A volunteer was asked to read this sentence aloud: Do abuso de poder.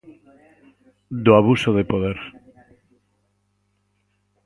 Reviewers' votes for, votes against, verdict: 2, 2, rejected